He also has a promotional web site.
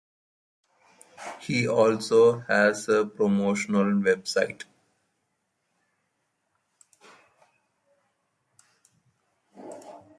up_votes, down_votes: 2, 0